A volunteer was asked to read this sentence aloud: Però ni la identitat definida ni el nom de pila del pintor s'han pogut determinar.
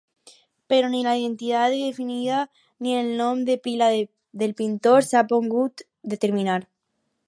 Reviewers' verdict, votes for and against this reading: rejected, 2, 4